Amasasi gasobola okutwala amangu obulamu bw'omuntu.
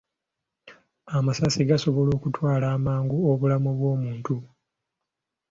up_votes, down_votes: 2, 1